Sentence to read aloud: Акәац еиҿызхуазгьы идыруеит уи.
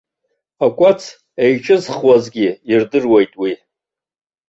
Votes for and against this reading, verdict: 1, 2, rejected